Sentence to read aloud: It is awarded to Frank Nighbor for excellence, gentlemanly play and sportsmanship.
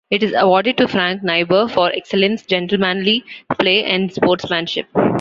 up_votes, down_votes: 2, 0